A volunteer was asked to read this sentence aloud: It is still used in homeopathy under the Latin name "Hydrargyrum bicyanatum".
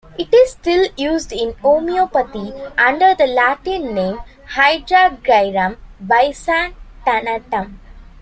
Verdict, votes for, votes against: rejected, 1, 2